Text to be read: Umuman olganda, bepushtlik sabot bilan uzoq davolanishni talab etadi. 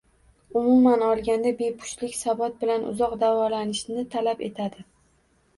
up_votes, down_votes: 2, 0